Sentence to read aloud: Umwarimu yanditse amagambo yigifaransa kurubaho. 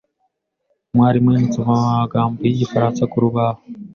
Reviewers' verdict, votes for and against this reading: accepted, 2, 0